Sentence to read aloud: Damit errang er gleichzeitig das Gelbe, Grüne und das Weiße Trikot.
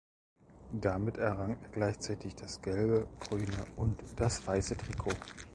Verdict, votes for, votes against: rejected, 1, 2